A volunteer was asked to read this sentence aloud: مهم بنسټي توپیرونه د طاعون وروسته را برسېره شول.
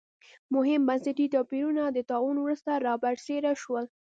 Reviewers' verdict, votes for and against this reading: accepted, 2, 1